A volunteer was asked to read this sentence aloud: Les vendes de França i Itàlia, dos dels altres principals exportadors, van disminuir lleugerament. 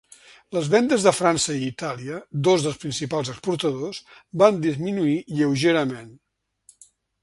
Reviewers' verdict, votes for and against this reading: rejected, 1, 2